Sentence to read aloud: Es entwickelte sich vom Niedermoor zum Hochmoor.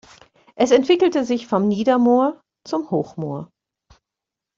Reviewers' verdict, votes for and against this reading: accepted, 2, 0